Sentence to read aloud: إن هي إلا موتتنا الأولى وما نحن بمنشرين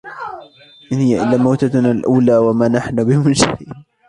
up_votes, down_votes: 1, 2